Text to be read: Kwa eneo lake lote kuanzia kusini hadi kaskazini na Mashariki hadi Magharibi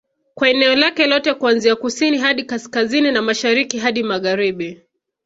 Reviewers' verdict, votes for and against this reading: accepted, 2, 0